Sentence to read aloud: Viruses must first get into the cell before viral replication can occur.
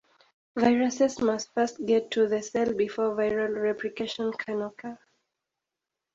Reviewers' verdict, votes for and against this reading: rejected, 2, 4